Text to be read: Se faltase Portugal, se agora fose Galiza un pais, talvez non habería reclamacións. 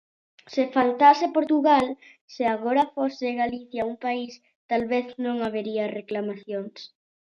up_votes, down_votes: 0, 2